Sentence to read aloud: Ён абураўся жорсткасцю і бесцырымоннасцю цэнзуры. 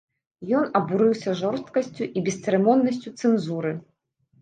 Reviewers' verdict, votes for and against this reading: rejected, 0, 2